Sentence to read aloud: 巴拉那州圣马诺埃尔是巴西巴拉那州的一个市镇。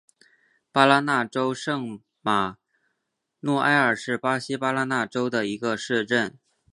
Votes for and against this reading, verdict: 7, 0, accepted